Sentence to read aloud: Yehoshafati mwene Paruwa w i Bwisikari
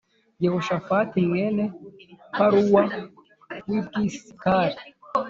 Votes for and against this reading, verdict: 1, 2, rejected